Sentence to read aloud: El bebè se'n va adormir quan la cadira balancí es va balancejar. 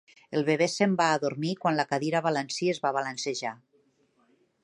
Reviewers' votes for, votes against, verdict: 0, 2, rejected